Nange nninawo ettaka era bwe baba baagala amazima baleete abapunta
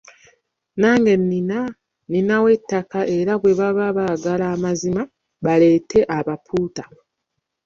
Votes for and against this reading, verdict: 0, 2, rejected